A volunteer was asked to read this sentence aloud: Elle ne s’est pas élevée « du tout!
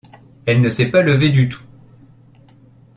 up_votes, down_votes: 0, 2